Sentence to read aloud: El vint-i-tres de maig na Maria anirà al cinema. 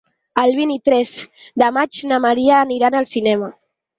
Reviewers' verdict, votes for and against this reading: accepted, 4, 2